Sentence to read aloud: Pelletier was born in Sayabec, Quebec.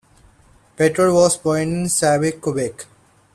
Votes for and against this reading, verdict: 2, 0, accepted